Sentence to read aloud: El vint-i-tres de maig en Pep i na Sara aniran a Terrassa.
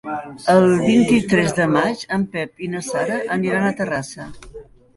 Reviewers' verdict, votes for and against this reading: rejected, 0, 2